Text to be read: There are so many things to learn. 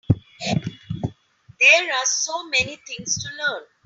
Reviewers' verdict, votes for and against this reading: accepted, 3, 0